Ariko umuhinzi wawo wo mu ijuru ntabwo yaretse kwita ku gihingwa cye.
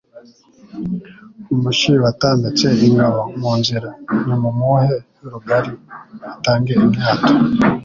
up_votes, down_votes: 1, 2